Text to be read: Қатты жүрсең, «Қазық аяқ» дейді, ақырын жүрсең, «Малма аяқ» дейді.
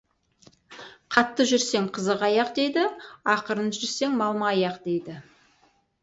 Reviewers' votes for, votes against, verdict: 2, 2, rejected